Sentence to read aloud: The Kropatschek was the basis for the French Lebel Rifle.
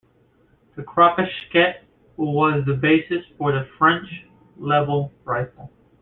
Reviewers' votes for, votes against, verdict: 2, 0, accepted